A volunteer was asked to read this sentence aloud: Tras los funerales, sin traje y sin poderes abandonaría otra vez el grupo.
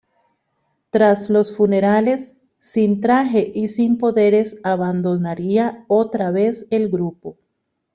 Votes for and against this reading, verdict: 2, 0, accepted